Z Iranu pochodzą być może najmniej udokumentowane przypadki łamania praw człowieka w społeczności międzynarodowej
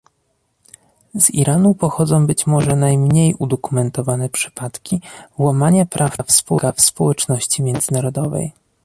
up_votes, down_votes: 0, 2